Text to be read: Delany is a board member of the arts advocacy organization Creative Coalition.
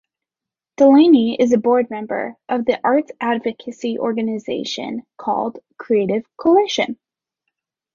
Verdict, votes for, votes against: rejected, 0, 2